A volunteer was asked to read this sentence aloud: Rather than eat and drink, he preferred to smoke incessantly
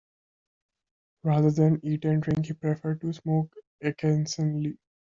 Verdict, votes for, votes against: rejected, 0, 2